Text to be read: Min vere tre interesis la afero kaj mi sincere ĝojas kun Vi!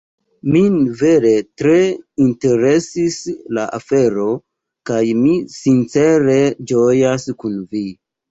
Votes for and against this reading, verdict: 2, 0, accepted